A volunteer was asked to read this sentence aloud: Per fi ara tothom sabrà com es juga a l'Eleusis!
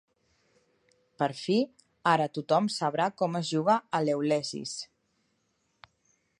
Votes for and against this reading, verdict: 1, 2, rejected